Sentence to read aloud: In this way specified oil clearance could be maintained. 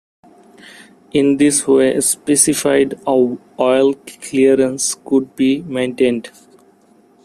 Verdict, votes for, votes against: rejected, 0, 2